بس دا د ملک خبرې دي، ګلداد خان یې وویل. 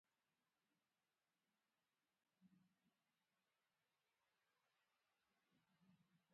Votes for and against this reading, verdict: 0, 2, rejected